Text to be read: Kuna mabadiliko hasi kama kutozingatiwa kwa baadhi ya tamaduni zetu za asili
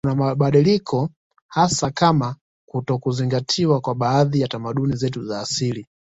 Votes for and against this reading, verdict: 2, 0, accepted